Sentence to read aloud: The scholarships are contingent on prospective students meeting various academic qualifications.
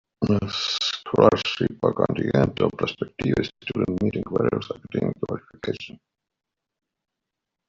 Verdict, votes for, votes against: rejected, 0, 2